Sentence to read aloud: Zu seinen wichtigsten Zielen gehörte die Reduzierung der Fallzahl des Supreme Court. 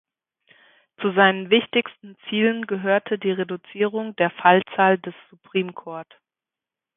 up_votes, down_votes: 2, 0